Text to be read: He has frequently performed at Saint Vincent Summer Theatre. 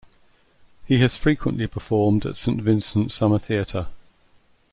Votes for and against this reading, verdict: 2, 0, accepted